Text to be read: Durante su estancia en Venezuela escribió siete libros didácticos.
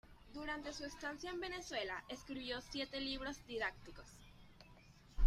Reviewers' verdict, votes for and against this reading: accepted, 2, 0